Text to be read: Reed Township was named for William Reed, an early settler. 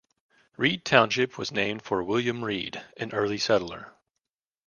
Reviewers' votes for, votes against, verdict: 2, 0, accepted